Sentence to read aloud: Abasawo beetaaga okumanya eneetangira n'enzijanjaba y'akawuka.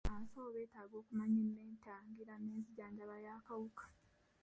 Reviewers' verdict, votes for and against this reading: accepted, 2, 1